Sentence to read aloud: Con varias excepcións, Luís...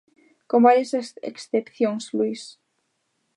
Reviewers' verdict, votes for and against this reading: rejected, 0, 2